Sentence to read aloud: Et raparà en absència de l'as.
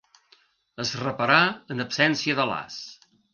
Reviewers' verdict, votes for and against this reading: rejected, 0, 2